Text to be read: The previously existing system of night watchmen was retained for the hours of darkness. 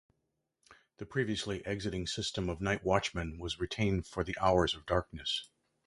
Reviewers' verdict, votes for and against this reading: rejected, 0, 2